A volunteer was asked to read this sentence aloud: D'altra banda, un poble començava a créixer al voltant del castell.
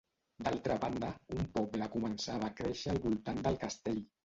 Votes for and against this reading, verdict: 0, 2, rejected